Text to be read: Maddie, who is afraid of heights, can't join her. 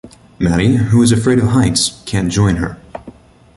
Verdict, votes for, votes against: accepted, 2, 0